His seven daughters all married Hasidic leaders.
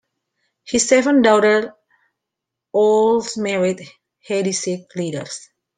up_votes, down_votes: 0, 2